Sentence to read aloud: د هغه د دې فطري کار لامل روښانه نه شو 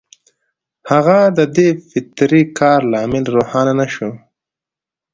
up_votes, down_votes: 2, 0